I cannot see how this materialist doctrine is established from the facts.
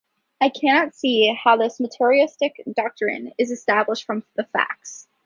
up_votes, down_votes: 0, 2